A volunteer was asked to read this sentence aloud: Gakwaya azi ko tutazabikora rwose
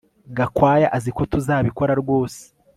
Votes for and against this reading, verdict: 1, 2, rejected